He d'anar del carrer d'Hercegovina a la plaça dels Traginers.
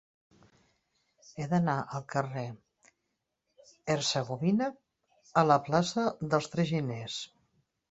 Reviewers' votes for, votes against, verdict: 1, 2, rejected